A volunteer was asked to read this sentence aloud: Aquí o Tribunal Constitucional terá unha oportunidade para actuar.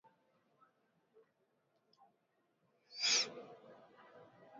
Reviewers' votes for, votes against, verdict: 0, 2, rejected